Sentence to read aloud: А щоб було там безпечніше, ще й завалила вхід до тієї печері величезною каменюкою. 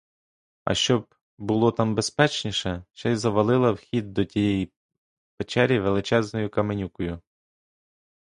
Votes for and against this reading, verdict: 1, 2, rejected